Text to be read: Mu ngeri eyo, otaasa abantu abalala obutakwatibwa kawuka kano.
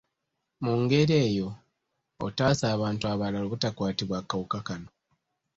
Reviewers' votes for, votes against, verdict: 1, 2, rejected